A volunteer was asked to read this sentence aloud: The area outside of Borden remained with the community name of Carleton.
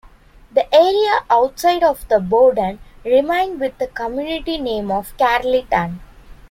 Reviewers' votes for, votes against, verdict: 0, 2, rejected